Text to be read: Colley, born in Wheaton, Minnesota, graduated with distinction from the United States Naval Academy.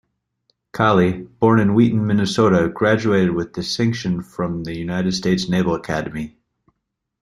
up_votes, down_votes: 2, 0